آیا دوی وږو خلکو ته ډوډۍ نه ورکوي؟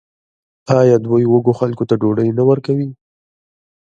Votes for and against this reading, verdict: 2, 0, accepted